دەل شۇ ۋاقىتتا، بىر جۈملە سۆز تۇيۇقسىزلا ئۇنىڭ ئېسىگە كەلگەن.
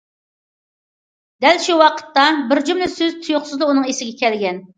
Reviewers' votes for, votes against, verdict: 2, 0, accepted